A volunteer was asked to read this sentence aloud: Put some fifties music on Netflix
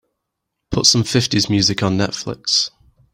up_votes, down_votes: 2, 0